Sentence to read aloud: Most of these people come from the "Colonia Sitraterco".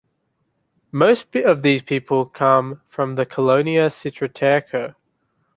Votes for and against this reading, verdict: 0, 2, rejected